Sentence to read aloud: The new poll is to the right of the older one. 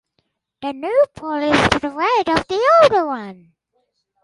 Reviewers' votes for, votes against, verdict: 4, 2, accepted